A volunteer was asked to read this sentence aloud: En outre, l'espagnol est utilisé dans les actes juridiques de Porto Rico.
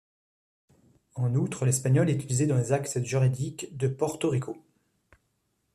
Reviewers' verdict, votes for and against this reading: rejected, 0, 2